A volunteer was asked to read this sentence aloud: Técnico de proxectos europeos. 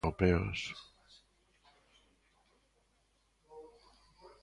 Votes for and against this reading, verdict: 0, 2, rejected